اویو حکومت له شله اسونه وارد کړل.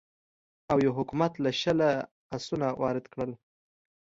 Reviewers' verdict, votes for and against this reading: accepted, 2, 0